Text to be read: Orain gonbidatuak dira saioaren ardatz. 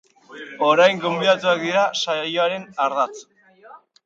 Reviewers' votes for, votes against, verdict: 2, 2, rejected